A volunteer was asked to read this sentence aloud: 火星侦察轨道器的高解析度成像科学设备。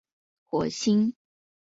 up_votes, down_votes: 0, 2